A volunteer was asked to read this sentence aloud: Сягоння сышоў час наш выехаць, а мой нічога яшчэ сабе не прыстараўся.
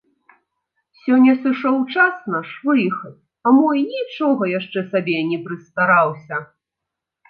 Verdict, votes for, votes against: rejected, 0, 4